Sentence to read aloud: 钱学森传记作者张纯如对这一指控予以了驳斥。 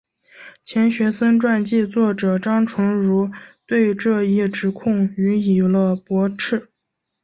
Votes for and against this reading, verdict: 3, 1, accepted